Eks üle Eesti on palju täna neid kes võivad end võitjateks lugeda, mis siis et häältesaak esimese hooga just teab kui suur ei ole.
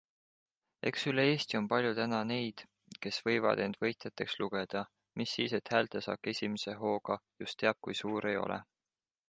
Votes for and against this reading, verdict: 2, 0, accepted